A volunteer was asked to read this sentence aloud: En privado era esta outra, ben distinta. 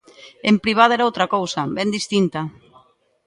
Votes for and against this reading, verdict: 1, 2, rejected